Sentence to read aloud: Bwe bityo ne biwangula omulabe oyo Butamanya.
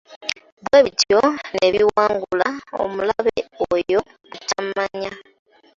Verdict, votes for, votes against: rejected, 0, 2